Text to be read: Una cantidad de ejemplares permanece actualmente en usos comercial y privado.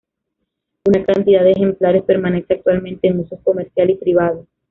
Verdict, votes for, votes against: accepted, 2, 0